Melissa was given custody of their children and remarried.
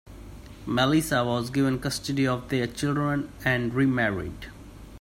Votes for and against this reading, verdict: 2, 0, accepted